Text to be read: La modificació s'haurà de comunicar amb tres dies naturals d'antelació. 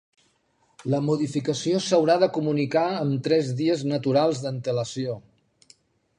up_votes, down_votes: 2, 0